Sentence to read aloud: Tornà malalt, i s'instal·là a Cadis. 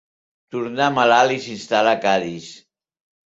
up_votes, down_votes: 3, 1